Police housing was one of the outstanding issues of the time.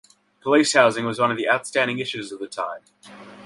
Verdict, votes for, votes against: accepted, 2, 0